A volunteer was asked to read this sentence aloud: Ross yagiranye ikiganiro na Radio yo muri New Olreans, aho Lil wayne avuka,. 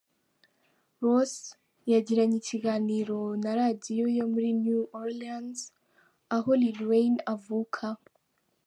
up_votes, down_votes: 3, 0